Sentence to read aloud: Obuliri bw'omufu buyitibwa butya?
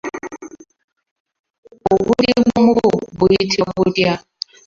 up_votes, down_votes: 0, 2